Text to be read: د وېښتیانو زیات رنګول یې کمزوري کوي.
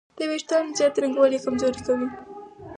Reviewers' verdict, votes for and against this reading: rejected, 2, 4